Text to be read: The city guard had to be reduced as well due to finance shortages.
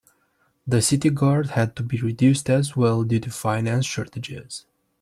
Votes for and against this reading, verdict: 2, 0, accepted